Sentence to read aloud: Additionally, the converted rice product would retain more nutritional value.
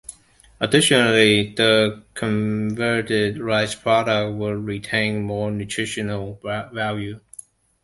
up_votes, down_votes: 0, 2